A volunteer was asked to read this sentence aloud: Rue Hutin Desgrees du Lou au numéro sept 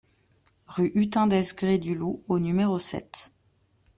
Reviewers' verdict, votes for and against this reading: accepted, 2, 0